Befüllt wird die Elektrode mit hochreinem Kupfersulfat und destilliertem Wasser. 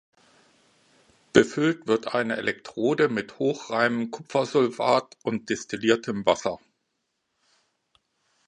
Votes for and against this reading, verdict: 0, 2, rejected